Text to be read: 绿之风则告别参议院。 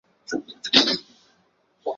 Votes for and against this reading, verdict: 0, 2, rejected